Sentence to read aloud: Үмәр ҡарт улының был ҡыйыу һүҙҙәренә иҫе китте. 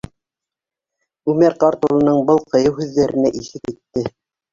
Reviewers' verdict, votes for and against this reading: accepted, 4, 1